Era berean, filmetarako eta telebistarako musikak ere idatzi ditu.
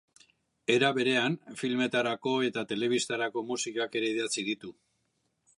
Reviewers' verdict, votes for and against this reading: accepted, 2, 0